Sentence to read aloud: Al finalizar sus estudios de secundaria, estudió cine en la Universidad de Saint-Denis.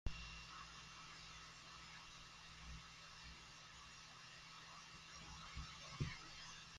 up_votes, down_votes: 0, 2